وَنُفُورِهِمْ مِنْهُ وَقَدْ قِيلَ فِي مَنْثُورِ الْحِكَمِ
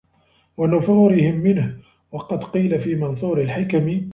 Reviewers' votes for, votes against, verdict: 0, 2, rejected